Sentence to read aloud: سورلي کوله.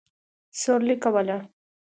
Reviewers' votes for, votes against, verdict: 2, 0, accepted